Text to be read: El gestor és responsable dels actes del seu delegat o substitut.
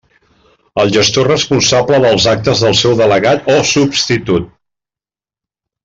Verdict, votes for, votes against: rejected, 1, 2